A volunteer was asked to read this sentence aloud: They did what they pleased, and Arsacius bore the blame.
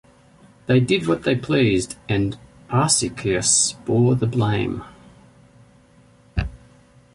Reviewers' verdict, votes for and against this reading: accepted, 2, 0